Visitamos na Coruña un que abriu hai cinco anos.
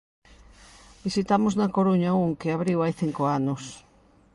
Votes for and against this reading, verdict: 2, 0, accepted